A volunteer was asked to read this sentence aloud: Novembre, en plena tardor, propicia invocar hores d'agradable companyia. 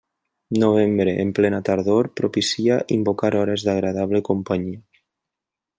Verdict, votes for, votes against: accepted, 3, 0